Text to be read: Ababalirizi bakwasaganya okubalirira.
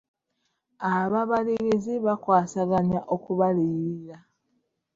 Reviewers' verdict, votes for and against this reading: rejected, 1, 3